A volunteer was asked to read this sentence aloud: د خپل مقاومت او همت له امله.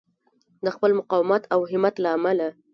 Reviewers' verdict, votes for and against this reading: rejected, 0, 2